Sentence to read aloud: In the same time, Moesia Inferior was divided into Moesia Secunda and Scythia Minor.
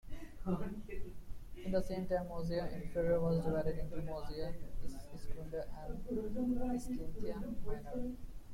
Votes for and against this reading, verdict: 0, 2, rejected